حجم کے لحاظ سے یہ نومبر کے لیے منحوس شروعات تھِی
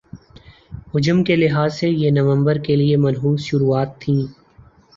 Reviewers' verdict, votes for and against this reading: accepted, 2, 0